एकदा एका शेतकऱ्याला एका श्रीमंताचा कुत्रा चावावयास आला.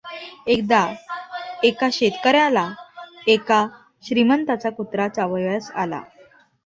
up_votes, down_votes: 2, 0